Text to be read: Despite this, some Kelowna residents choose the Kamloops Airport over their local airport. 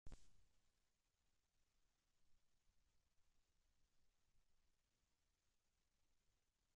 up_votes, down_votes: 1, 2